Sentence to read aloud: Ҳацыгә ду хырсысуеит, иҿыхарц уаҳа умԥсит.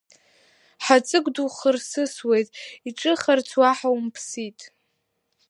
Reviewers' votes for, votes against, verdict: 1, 2, rejected